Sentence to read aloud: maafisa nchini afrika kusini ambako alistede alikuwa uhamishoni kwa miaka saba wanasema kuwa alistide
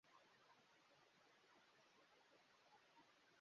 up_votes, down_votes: 0, 2